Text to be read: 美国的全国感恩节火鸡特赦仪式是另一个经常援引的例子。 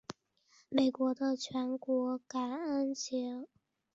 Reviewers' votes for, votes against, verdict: 0, 2, rejected